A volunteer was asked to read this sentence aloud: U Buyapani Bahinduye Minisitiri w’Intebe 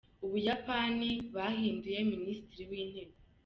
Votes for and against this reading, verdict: 2, 0, accepted